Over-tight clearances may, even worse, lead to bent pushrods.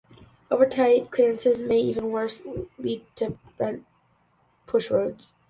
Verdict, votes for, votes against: accepted, 2, 0